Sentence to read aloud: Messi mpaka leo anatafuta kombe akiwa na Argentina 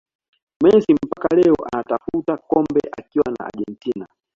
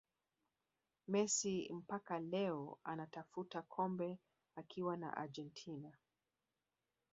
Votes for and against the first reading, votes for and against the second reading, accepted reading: 2, 0, 1, 2, first